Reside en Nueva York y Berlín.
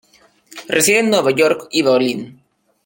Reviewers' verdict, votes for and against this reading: rejected, 1, 2